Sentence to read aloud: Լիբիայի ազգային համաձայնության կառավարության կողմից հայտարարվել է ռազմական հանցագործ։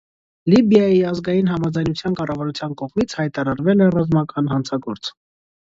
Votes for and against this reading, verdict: 2, 0, accepted